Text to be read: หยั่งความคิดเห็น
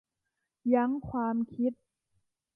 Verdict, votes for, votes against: rejected, 0, 2